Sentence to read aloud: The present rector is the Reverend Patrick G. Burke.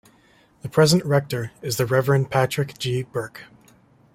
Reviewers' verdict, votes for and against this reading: accepted, 2, 0